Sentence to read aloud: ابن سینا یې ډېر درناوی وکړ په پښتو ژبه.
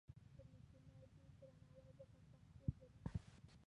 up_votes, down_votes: 0, 2